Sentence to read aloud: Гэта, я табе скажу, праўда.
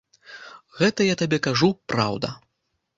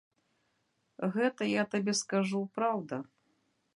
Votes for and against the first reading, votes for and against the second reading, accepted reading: 0, 2, 2, 0, second